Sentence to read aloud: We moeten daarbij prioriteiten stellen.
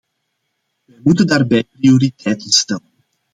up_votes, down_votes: 2, 1